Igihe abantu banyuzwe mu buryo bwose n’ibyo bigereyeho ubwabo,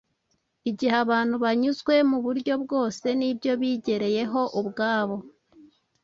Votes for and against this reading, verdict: 2, 0, accepted